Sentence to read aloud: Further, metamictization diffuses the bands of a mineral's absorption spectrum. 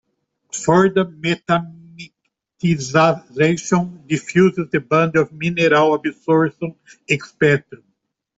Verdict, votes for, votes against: rejected, 1, 2